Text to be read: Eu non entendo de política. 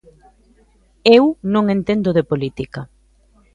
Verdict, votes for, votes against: accepted, 2, 0